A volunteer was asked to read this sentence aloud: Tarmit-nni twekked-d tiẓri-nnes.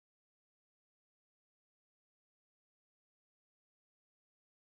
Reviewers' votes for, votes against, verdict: 0, 2, rejected